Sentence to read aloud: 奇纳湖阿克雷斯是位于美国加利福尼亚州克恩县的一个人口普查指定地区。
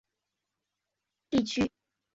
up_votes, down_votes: 1, 4